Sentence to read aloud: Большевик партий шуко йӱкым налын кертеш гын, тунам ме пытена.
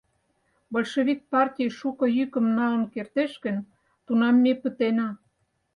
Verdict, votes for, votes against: accepted, 4, 0